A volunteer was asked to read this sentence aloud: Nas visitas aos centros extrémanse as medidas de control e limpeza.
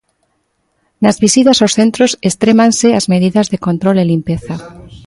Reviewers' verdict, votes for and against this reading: rejected, 0, 2